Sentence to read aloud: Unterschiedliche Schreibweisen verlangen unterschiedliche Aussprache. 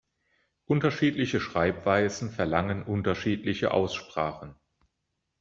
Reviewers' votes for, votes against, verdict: 0, 2, rejected